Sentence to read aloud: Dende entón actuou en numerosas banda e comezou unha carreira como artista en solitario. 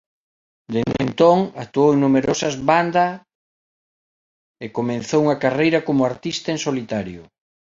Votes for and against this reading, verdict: 2, 1, accepted